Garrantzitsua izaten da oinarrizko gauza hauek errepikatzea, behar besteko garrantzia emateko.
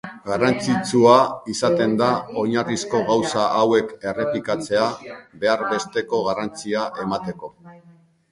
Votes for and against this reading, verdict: 2, 1, accepted